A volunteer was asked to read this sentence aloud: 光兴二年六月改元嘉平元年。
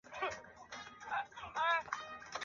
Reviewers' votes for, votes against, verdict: 1, 4, rejected